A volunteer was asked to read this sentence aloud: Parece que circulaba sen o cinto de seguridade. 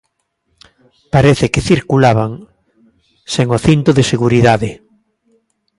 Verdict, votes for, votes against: rejected, 0, 2